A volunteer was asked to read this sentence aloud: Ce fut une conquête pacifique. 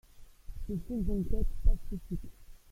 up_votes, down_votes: 1, 2